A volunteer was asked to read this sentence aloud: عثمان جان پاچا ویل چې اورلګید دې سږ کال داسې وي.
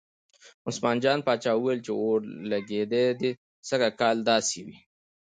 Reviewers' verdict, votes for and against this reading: accepted, 2, 0